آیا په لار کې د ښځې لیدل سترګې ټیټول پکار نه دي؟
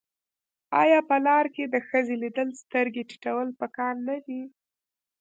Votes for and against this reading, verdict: 1, 2, rejected